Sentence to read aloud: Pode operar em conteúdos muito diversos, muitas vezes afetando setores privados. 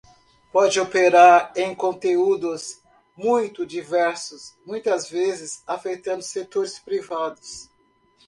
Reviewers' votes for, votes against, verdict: 2, 0, accepted